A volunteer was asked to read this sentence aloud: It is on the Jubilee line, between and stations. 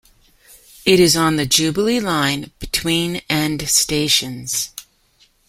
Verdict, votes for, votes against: rejected, 1, 2